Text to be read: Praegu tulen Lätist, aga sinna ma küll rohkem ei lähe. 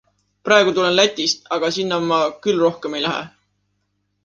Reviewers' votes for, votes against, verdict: 2, 0, accepted